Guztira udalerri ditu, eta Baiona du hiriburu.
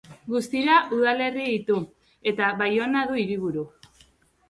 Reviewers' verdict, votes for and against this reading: accepted, 3, 0